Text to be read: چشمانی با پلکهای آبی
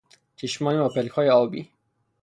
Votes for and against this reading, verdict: 0, 3, rejected